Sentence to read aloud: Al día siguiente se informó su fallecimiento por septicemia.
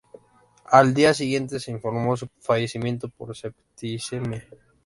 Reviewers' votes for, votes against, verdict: 2, 0, accepted